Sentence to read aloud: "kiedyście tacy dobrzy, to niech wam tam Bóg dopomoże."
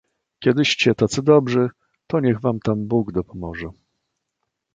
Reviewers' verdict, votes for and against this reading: accepted, 2, 0